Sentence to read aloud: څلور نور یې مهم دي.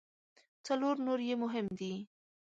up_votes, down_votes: 2, 0